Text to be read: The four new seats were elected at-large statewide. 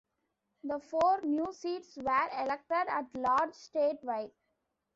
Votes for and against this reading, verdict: 2, 1, accepted